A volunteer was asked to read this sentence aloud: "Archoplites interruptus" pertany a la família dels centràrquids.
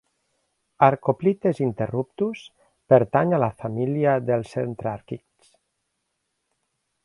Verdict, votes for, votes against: accepted, 3, 0